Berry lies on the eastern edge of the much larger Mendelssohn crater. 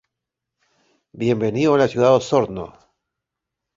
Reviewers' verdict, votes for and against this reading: rejected, 0, 2